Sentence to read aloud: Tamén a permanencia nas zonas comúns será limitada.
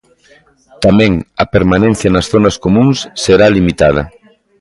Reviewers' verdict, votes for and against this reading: accepted, 2, 0